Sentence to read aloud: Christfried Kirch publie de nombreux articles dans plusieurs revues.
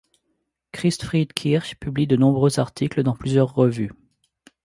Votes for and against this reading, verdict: 2, 0, accepted